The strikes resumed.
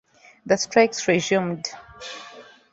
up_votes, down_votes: 2, 0